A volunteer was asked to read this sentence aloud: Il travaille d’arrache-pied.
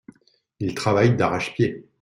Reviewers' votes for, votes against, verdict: 2, 0, accepted